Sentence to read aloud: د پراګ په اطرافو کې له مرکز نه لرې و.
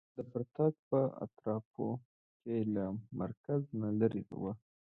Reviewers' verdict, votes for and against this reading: accepted, 2, 0